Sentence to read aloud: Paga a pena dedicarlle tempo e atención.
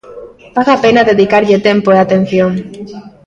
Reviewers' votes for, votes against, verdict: 2, 0, accepted